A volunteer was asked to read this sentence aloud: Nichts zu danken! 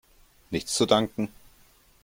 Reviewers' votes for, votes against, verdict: 3, 0, accepted